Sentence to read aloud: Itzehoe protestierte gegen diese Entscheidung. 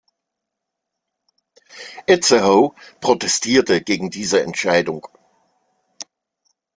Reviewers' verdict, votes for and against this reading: rejected, 0, 2